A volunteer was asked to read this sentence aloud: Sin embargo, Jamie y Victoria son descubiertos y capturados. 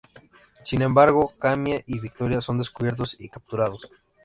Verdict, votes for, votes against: rejected, 1, 2